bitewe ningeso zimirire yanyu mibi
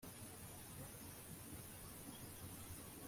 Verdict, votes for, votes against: rejected, 1, 2